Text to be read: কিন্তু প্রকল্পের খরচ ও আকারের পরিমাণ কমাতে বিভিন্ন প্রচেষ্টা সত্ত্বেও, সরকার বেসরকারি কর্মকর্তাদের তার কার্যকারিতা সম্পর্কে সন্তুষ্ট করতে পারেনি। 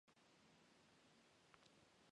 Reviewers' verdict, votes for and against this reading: rejected, 0, 5